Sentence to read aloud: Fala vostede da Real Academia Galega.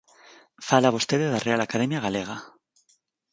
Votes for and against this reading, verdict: 4, 0, accepted